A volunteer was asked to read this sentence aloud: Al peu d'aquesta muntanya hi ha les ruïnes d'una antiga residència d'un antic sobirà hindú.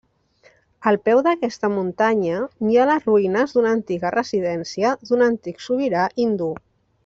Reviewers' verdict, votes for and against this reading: rejected, 1, 2